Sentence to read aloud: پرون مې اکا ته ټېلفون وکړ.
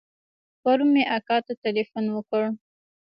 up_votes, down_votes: 1, 2